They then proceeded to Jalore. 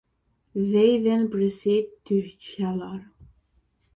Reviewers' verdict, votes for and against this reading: rejected, 0, 2